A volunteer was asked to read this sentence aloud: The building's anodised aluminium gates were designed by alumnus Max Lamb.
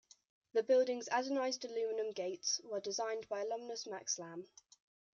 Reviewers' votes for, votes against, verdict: 0, 2, rejected